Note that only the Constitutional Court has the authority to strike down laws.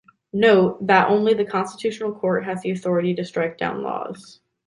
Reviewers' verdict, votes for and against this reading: accepted, 2, 0